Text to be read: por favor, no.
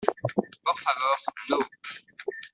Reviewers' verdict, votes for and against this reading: accepted, 2, 1